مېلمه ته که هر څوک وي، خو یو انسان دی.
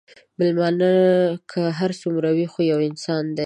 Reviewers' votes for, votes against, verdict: 0, 2, rejected